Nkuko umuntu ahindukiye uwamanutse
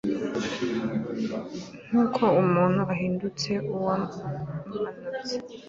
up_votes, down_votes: 0, 2